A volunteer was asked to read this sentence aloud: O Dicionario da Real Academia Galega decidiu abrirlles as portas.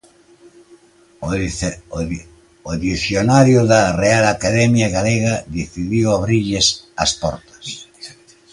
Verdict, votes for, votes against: accepted, 2, 0